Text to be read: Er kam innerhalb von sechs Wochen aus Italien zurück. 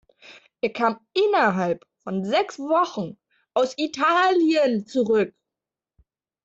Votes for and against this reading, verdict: 2, 1, accepted